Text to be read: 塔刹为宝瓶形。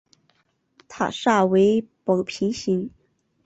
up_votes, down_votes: 2, 2